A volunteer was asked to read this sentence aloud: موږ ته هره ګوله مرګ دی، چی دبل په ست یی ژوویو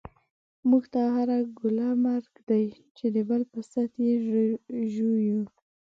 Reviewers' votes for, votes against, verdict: 2, 1, accepted